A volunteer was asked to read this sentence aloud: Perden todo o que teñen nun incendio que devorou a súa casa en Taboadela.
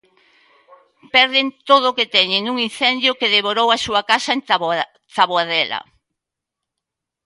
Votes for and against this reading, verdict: 0, 2, rejected